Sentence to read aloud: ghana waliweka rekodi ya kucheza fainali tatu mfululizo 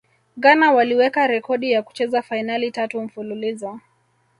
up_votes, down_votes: 2, 1